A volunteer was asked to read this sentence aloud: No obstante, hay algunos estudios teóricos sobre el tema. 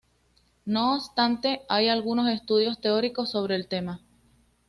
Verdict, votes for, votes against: accepted, 2, 0